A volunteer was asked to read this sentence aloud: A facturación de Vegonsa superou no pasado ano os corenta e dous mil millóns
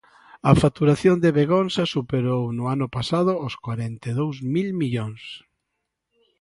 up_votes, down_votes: 1, 2